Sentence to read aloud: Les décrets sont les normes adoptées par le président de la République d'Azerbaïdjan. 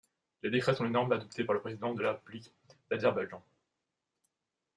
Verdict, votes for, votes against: rejected, 0, 2